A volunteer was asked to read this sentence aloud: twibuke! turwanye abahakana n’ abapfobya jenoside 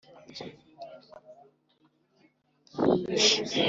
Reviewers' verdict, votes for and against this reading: rejected, 0, 2